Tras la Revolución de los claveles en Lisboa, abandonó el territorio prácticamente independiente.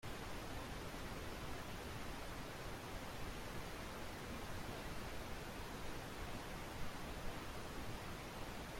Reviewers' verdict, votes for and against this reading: rejected, 0, 2